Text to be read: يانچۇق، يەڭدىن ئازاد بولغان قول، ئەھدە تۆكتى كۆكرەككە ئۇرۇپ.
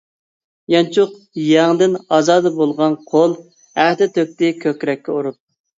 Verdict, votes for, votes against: rejected, 0, 2